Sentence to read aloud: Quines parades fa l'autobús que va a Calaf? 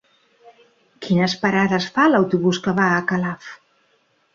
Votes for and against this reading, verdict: 3, 0, accepted